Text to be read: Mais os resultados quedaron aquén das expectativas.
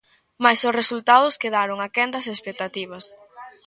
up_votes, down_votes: 0, 2